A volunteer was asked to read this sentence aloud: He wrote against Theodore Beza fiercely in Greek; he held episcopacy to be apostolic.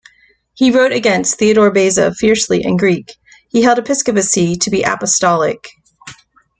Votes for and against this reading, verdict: 2, 0, accepted